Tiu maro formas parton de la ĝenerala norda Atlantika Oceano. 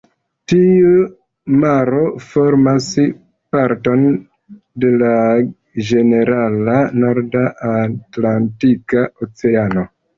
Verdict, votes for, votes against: accepted, 2, 0